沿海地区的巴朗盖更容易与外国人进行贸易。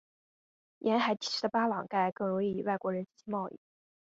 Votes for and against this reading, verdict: 2, 1, accepted